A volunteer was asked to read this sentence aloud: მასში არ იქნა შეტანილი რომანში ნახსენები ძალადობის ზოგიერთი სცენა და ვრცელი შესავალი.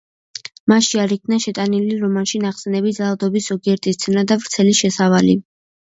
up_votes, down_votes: 2, 0